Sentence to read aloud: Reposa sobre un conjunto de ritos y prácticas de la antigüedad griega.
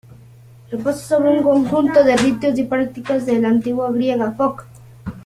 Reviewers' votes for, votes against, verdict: 0, 2, rejected